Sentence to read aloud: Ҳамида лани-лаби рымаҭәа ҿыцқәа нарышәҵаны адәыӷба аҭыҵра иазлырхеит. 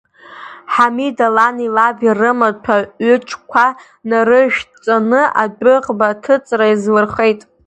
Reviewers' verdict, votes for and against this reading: rejected, 1, 2